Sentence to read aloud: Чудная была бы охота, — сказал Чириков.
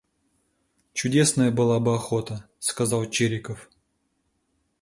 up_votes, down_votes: 0, 2